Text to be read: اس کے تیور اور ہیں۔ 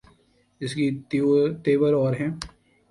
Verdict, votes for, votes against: rejected, 0, 2